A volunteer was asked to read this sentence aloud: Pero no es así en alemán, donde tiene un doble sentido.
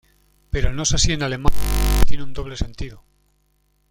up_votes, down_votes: 0, 2